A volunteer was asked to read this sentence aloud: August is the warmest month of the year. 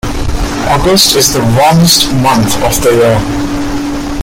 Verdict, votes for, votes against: rejected, 1, 2